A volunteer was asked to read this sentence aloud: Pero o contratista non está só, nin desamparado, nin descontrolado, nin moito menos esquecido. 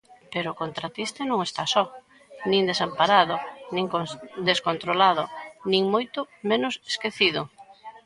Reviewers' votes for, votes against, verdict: 0, 2, rejected